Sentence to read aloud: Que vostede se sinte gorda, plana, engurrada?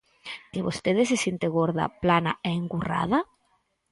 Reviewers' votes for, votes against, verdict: 4, 0, accepted